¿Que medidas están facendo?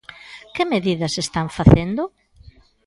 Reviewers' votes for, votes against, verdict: 2, 0, accepted